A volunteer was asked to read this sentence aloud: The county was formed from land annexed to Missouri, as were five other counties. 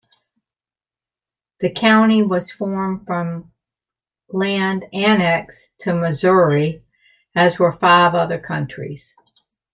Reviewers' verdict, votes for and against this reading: rejected, 1, 2